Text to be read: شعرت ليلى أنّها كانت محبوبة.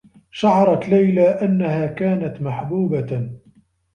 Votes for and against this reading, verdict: 2, 0, accepted